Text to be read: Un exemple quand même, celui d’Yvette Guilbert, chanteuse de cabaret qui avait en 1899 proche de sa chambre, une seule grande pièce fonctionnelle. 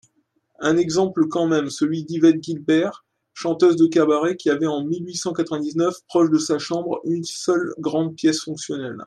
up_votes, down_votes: 0, 2